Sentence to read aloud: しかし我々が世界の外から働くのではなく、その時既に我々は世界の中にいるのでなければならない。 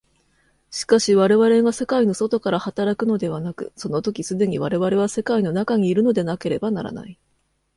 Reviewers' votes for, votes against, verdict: 2, 0, accepted